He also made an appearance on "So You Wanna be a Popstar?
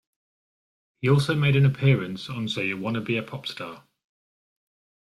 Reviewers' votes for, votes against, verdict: 2, 0, accepted